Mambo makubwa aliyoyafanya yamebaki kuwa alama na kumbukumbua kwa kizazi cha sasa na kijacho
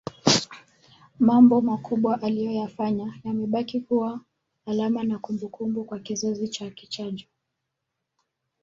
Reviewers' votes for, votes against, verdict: 1, 2, rejected